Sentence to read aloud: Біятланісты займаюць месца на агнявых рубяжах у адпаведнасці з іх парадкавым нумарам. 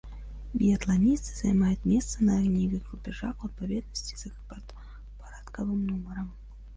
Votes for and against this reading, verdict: 0, 2, rejected